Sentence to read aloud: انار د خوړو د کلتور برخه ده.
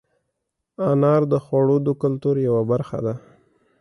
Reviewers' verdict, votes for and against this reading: accepted, 2, 0